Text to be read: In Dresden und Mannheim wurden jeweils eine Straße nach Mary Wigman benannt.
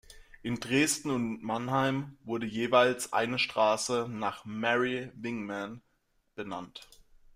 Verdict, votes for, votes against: rejected, 1, 2